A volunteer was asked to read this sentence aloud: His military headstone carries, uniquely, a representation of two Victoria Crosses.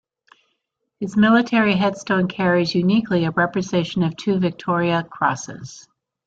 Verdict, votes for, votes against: rejected, 1, 2